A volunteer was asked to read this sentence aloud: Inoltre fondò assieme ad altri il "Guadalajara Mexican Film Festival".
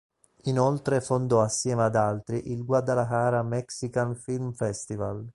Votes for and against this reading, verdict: 2, 1, accepted